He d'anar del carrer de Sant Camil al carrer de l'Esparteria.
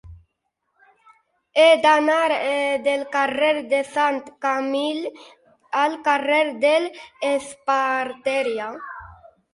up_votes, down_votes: 0, 4